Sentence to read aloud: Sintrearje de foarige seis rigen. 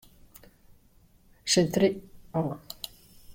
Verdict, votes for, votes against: rejected, 0, 2